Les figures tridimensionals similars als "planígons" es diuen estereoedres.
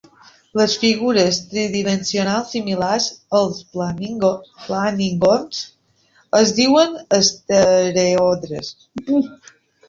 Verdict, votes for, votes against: rejected, 0, 2